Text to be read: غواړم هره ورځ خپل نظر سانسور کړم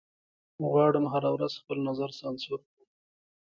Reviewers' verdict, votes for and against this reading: accepted, 2, 1